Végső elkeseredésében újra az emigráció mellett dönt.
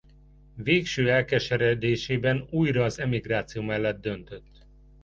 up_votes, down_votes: 1, 2